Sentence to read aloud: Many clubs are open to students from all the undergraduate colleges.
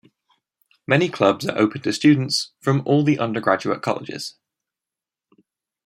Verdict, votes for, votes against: accepted, 2, 0